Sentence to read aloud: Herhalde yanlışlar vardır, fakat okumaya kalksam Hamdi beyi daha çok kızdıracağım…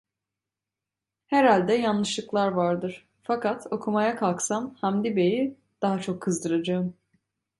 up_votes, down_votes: 0, 2